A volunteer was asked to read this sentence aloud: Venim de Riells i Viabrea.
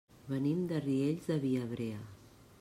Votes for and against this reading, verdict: 1, 2, rejected